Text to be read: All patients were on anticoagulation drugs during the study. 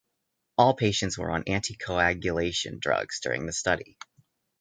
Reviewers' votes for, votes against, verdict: 2, 0, accepted